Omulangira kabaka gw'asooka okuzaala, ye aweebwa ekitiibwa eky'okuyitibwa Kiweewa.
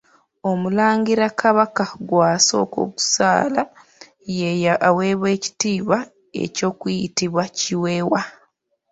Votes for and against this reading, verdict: 0, 2, rejected